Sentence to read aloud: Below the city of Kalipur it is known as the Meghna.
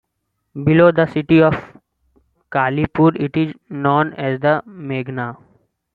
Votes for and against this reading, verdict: 2, 1, accepted